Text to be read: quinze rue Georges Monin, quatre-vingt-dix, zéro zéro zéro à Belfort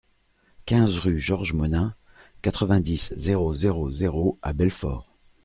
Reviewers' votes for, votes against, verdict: 2, 0, accepted